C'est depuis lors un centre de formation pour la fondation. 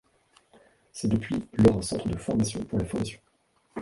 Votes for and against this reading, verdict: 1, 2, rejected